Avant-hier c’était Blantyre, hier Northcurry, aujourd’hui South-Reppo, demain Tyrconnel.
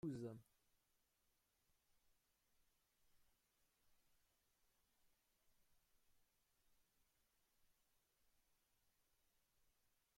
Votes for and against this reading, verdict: 0, 2, rejected